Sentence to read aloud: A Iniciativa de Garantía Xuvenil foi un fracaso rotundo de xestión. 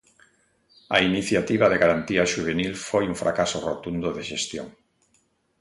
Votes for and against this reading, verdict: 2, 0, accepted